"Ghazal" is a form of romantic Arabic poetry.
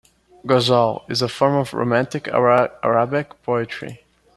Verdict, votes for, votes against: rejected, 1, 2